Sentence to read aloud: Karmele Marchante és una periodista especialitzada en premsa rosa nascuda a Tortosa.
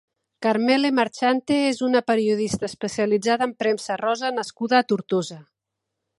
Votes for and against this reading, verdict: 2, 0, accepted